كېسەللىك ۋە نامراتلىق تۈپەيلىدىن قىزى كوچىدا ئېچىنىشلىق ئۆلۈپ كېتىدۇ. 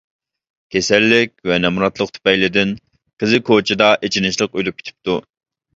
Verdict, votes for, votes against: rejected, 0, 2